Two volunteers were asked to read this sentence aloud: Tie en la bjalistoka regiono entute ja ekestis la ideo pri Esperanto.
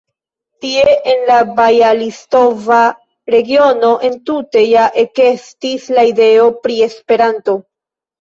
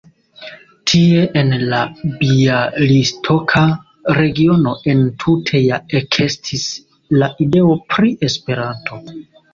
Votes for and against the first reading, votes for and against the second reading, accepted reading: 1, 2, 2, 1, second